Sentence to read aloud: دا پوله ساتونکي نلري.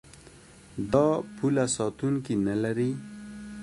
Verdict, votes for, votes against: accepted, 2, 0